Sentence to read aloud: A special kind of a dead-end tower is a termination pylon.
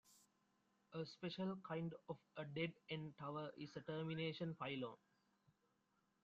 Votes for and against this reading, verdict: 2, 1, accepted